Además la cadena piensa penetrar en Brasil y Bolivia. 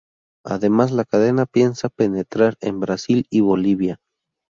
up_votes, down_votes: 2, 0